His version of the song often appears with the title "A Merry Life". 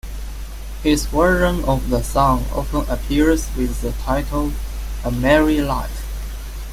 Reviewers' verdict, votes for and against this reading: accepted, 2, 0